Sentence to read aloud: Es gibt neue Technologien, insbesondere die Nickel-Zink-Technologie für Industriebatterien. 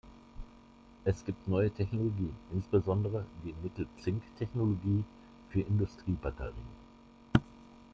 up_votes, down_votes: 2, 0